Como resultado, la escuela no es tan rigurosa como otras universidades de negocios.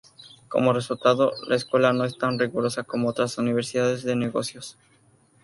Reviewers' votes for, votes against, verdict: 2, 0, accepted